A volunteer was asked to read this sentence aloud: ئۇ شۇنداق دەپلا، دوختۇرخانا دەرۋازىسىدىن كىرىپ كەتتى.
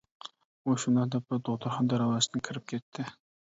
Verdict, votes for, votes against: rejected, 0, 2